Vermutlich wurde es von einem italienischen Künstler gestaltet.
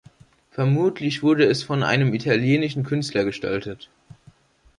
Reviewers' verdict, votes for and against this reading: accepted, 2, 0